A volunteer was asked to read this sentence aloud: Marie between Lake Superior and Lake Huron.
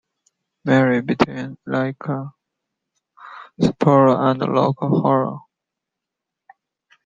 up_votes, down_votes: 0, 2